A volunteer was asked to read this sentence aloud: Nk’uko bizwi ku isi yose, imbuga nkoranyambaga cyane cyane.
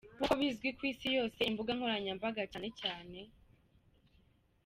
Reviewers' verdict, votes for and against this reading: accepted, 2, 1